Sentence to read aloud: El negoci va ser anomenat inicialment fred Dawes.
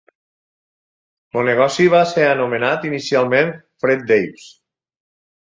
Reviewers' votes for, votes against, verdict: 2, 4, rejected